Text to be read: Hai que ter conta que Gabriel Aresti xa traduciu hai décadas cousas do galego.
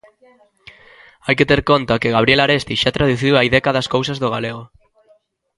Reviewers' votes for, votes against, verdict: 2, 0, accepted